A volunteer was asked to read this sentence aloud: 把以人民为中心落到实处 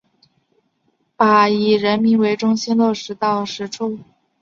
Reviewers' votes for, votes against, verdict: 0, 2, rejected